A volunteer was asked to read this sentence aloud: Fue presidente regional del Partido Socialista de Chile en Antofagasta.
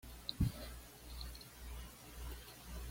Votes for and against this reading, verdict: 1, 2, rejected